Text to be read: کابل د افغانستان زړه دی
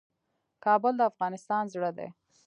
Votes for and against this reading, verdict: 2, 1, accepted